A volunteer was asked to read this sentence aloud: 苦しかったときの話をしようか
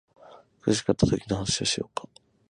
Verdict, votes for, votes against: accepted, 6, 0